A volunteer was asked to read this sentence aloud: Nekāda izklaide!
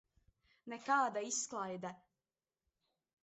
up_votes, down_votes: 2, 0